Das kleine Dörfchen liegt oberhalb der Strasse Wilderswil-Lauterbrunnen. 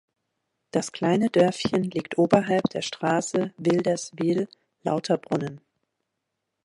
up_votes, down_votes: 2, 0